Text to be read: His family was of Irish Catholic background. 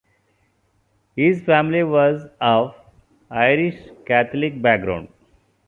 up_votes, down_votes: 2, 0